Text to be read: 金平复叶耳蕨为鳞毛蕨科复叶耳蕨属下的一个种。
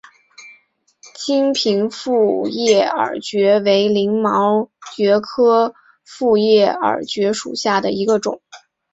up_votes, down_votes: 6, 0